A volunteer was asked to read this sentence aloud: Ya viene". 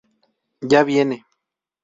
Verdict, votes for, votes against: accepted, 2, 0